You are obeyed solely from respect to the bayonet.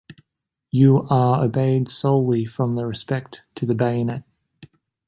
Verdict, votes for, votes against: accepted, 2, 0